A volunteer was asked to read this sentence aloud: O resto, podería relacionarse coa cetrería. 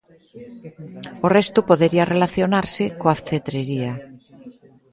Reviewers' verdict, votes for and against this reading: rejected, 0, 2